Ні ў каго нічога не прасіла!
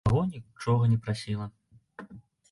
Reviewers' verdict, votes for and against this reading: rejected, 1, 3